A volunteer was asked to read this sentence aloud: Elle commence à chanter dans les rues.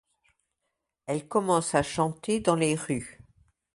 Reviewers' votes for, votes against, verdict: 2, 0, accepted